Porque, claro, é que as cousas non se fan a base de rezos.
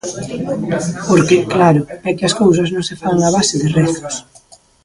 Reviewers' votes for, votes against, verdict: 0, 3, rejected